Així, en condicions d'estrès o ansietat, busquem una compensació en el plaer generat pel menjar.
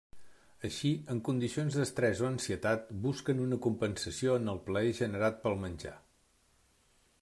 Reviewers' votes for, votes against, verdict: 1, 2, rejected